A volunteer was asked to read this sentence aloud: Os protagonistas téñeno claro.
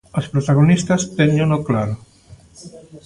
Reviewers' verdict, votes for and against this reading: accepted, 2, 0